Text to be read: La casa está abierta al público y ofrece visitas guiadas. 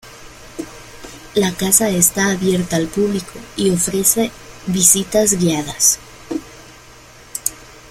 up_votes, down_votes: 2, 0